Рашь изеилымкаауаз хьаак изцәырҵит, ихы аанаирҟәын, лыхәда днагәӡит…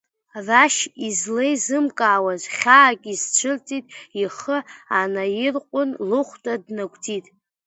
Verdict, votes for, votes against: rejected, 0, 2